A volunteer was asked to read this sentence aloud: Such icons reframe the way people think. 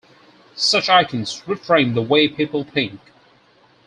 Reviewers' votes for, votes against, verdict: 4, 0, accepted